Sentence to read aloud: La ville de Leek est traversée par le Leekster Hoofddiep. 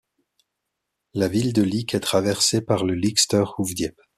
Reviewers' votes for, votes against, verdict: 2, 0, accepted